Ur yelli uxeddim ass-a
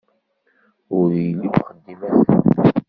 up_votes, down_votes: 0, 2